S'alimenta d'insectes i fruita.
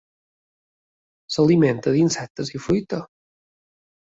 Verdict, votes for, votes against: accepted, 3, 0